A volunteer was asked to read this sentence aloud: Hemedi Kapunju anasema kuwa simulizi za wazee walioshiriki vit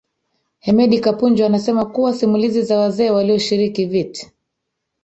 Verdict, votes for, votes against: rejected, 1, 2